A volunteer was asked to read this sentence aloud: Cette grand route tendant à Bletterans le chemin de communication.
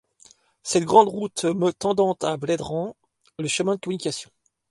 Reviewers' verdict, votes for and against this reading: rejected, 1, 2